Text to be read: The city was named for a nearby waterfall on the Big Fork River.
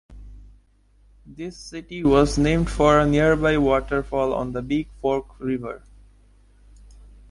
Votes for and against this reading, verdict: 1, 2, rejected